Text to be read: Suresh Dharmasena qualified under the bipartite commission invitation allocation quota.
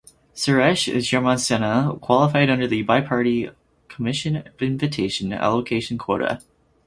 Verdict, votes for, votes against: rejected, 2, 2